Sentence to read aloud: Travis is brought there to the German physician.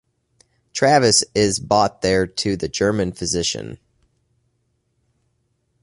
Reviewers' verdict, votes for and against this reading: rejected, 1, 2